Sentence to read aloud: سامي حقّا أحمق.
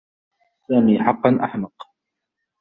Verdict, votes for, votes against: accepted, 2, 0